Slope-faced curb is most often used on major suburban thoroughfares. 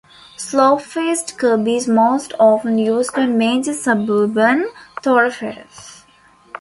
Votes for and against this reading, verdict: 0, 2, rejected